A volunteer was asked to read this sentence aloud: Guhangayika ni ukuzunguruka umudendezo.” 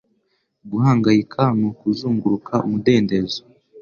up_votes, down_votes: 2, 0